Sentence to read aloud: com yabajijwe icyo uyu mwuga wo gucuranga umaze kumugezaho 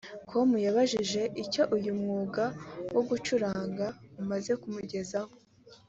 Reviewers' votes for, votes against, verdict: 2, 0, accepted